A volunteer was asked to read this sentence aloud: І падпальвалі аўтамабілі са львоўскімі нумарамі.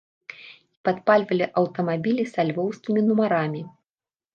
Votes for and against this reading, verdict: 1, 2, rejected